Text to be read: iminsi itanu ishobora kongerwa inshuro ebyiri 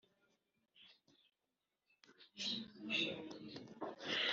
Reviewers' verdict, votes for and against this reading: rejected, 0, 2